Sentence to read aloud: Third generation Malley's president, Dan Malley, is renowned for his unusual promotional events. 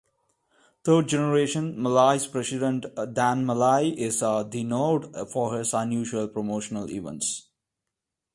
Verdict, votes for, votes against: accepted, 2, 0